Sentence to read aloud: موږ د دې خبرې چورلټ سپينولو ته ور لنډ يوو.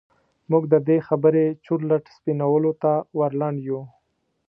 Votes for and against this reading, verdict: 2, 0, accepted